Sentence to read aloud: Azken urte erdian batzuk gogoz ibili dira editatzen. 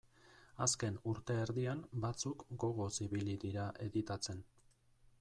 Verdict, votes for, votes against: accepted, 2, 0